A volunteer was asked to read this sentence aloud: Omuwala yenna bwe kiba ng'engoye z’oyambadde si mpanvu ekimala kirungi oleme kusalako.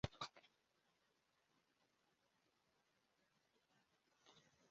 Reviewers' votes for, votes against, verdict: 1, 2, rejected